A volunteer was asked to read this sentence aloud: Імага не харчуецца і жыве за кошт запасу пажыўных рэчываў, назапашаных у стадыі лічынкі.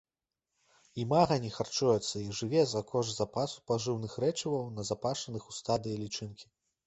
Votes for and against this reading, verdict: 3, 0, accepted